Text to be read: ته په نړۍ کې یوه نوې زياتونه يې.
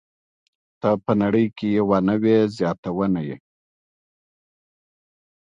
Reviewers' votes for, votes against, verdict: 2, 0, accepted